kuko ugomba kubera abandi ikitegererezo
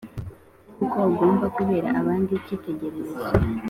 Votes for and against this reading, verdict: 3, 0, accepted